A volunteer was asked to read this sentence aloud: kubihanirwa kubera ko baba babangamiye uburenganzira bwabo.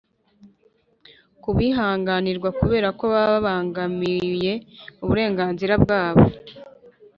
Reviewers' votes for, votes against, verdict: 1, 2, rejected